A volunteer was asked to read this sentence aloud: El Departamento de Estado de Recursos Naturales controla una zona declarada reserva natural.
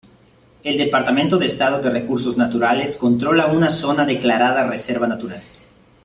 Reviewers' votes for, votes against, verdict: 0, 2, rejected